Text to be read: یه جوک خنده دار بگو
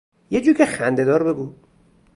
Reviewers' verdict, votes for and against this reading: accepted, 2, 0